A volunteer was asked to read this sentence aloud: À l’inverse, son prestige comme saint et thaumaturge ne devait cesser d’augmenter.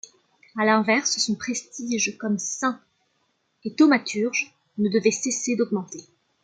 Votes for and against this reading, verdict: 2, 1, accepted